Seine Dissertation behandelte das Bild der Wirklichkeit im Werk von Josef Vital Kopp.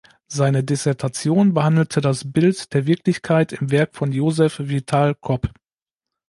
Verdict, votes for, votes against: accepted, 2, 0